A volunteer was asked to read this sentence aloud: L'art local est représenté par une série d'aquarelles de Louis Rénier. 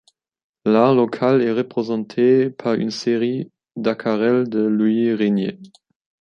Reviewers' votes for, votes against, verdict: 0, 2, rejected